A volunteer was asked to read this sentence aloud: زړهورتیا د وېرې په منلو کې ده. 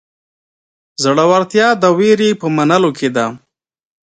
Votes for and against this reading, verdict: 2, 0, accepted